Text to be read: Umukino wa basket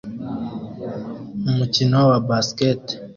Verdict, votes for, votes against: accepted, 2, 0